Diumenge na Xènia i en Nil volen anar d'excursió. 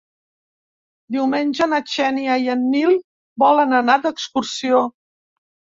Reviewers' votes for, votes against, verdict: 3, 0, accepted